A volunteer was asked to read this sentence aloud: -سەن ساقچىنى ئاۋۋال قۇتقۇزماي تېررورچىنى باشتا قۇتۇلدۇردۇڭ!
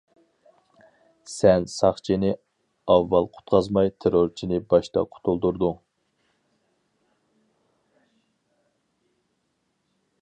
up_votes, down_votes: 0, 2